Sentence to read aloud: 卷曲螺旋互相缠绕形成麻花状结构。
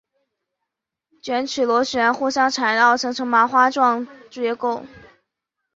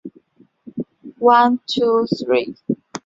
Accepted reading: first